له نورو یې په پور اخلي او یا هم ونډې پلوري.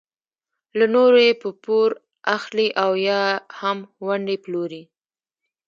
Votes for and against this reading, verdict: 2, 1, accepted